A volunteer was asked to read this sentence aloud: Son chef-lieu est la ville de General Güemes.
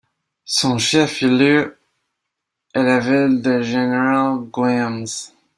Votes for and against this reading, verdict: 2, 1, accepted